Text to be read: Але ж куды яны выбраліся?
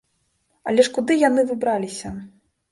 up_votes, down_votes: 0, 2